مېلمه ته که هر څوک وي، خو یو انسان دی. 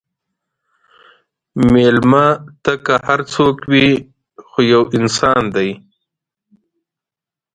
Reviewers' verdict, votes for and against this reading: accepted, 2, 0